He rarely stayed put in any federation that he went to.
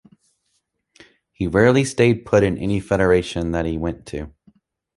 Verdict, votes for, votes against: accepted, 2, 0